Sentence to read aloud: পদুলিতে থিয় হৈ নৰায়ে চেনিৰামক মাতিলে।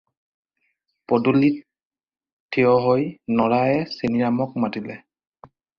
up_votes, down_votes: 0, 4